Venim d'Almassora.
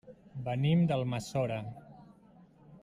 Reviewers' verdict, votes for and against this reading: accepted, 2, 0